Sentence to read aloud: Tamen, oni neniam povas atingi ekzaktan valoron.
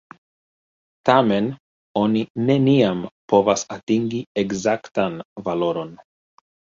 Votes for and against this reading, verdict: 2, 1, accepted